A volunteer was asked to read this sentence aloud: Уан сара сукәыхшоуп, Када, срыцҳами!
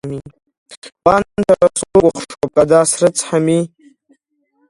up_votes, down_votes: 1, 2